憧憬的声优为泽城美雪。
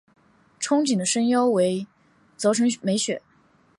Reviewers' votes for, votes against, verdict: 3, 1, accepted